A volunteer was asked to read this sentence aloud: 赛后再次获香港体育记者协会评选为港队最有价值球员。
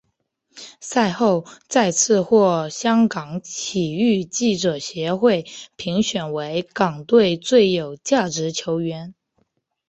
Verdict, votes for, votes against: accepted, 2, 0